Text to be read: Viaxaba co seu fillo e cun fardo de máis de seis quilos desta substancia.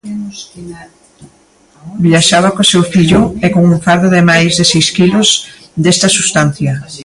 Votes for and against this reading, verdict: 2, 0, accepted